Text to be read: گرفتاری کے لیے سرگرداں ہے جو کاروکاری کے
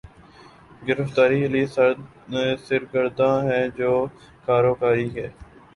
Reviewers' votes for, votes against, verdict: 5, 2, accepted